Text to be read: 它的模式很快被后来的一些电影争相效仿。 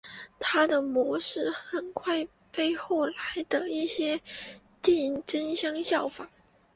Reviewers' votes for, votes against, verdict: 0, 2, rejected